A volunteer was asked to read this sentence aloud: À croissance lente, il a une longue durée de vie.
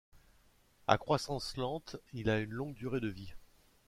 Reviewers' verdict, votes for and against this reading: accepted, 2, 0